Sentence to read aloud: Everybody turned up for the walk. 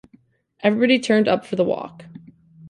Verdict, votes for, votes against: accepted, 2, 0